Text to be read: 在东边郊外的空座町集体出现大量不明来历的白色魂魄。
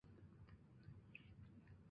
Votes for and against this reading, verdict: 0, 3, rejected